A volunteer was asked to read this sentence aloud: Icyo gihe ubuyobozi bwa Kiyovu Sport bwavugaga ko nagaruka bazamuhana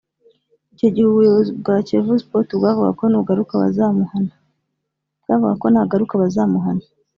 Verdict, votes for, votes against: rejected, 1, 3